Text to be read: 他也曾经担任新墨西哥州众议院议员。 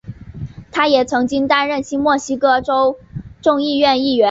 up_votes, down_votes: 2, 0